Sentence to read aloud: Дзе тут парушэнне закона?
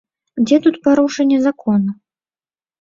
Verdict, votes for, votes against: rejected, 0, 2